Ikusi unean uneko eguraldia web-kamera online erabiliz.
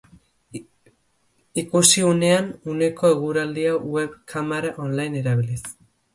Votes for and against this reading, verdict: 1, 2, rejected